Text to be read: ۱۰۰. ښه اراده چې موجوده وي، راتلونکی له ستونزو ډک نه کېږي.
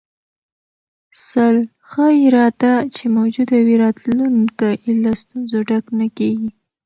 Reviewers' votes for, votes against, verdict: 0, 2, rejected